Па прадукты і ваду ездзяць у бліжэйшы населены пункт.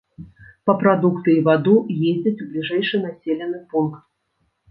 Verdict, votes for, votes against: accepted, 2, 0